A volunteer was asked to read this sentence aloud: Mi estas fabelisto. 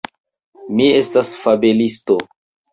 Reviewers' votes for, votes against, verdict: 2, 0, accepted